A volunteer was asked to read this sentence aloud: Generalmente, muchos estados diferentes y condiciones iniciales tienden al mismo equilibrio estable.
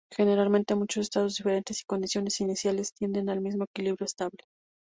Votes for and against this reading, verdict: 0, 2, rejected